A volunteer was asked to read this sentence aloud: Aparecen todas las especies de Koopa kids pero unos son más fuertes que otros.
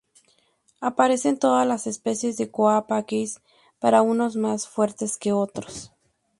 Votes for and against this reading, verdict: 0, 2, rejected